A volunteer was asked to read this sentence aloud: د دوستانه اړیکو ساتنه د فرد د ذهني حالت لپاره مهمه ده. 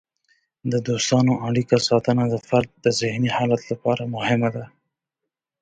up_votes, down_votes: 1, 2